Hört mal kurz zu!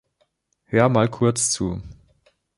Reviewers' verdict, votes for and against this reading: rejected, 1, 3